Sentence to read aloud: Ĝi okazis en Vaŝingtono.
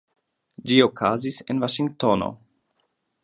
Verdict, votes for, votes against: accepted, 2, 0